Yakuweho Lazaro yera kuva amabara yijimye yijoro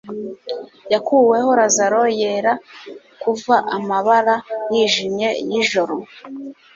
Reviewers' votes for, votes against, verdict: 3, 0, accepted